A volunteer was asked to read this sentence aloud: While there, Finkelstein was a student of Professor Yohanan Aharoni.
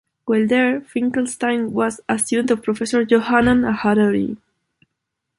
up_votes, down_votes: 0, 2